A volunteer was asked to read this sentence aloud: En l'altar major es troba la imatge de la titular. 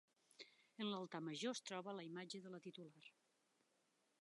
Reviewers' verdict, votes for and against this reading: accepted, 2, 1